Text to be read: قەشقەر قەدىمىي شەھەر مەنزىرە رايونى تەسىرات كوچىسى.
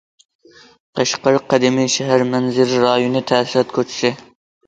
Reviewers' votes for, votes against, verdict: 2, 0, accepted